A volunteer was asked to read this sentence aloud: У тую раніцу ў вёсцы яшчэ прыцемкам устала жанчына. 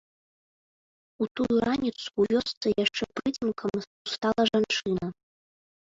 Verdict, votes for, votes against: rejected, 1, 3